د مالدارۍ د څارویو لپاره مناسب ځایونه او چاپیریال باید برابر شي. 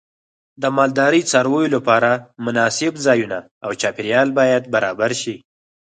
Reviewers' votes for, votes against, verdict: 4, 0, accepted